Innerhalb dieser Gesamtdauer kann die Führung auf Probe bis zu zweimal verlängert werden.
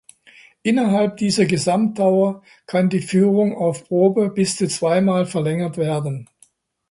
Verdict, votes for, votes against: accepted, 3, 0